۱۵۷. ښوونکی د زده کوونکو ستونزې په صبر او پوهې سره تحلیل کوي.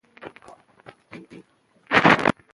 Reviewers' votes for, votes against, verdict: 0, 2, rejected